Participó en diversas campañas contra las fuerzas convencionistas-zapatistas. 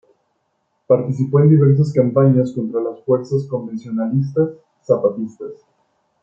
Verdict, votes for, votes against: accepted, 2, 1